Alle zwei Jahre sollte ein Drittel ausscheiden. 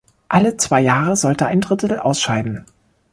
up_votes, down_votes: 0, 2